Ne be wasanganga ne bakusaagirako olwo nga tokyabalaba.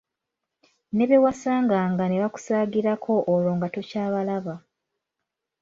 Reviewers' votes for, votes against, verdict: 2, 0, accepted